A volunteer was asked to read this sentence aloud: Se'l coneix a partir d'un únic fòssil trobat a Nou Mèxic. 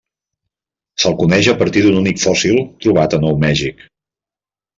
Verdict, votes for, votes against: rejected, 0, 2